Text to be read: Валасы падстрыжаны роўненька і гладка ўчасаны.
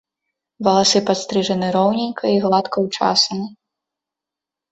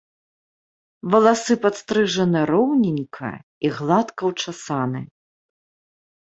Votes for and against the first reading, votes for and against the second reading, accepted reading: 0, 2, 2, 0, second